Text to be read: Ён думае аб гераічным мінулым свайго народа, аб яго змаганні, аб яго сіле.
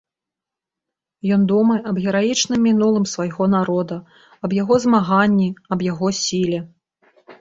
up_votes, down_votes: 2, 0